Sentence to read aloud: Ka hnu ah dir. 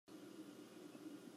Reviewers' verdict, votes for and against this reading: rejected, 1, 2